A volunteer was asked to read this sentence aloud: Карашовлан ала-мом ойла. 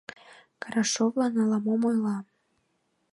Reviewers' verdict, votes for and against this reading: accepted, 2, 0